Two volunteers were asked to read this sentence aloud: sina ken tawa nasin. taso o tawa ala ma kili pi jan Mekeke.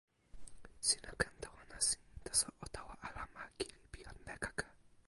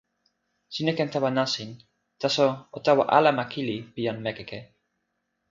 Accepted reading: second